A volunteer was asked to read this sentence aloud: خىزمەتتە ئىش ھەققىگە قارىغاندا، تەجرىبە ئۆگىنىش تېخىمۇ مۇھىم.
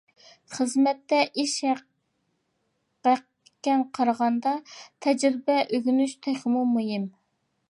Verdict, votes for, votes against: rejected, 0, 2